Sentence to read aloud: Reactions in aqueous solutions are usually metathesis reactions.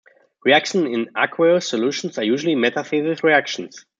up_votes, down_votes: 2, 0